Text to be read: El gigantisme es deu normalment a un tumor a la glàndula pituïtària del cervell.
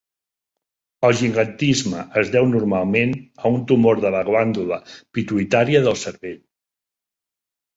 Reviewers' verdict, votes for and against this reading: rejected, 1, 2